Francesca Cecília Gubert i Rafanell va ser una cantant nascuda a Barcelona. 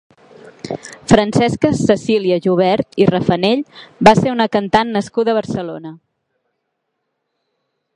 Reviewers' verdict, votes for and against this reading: rejected, 0, 4